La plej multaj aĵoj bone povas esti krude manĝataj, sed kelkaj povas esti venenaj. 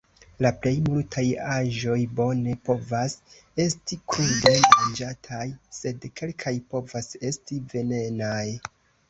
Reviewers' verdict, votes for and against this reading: rejected, 0, 3